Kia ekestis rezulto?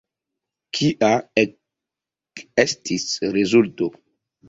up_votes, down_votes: 1, 2